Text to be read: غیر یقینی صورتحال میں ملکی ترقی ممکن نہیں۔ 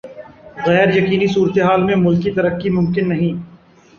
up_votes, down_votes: 2, 0